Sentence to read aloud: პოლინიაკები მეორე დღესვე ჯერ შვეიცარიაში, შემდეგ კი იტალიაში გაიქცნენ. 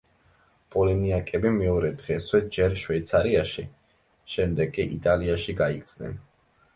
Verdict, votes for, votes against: accepted, 2, 0